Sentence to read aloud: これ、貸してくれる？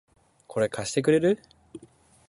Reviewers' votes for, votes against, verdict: 2, 0, accepted